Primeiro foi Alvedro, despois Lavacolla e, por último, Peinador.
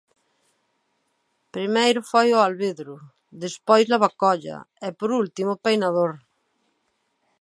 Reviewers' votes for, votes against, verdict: 0, 2, rejected